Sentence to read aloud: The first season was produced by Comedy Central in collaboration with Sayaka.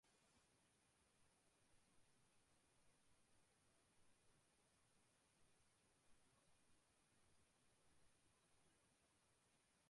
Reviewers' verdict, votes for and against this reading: rejected, 0, 2